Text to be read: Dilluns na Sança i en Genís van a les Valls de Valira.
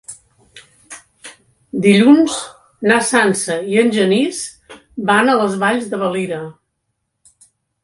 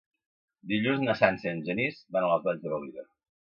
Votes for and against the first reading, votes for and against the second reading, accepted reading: 3, 0, 1, 2, first